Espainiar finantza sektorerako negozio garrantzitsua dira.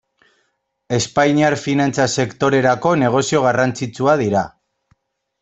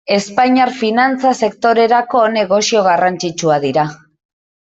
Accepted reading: second